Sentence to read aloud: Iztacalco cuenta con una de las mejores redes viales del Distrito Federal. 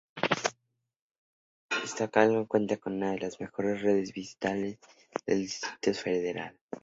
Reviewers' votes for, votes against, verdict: 2, 0, accepted